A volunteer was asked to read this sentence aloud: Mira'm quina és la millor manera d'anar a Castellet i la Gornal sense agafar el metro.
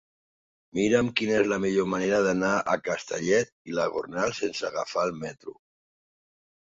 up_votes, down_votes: 2, 0